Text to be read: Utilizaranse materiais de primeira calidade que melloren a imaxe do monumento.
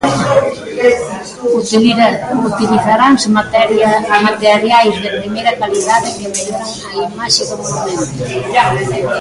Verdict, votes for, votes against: rejected, 0, 2